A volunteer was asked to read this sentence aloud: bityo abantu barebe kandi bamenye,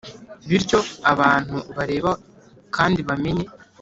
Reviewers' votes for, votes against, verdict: 0, 3, rejected